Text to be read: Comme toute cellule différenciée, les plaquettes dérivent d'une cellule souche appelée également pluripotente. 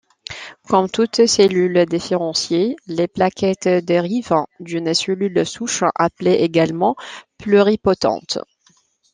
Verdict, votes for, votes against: accepted, 2, 0